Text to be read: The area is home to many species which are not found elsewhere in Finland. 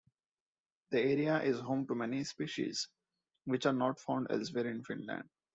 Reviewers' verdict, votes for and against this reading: accepted, 2, 0